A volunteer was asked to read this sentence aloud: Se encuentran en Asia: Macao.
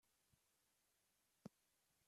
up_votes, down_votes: 0, 2